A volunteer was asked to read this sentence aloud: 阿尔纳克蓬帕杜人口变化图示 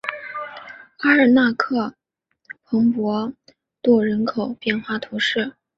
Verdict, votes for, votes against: accepted, 3, 1